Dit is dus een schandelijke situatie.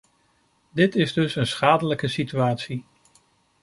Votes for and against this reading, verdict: 1, 2, rejected